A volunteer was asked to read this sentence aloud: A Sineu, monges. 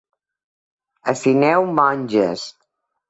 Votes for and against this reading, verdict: 2, 0, accepted